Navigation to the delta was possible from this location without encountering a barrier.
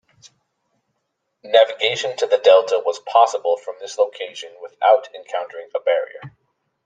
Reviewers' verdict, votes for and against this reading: accepted, 2, 0